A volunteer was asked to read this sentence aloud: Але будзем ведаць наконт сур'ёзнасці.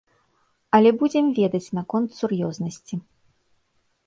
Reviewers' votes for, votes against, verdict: 2, 0, accepted